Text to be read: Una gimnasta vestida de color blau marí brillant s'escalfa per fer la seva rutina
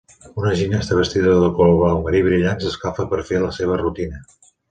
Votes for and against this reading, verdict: 2, 0, accepted